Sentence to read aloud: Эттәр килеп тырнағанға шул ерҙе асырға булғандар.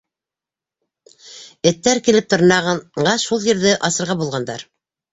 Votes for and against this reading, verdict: 1, 2, rejected